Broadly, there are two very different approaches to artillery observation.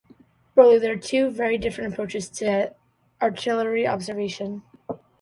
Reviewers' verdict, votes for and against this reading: accepted, 2, 0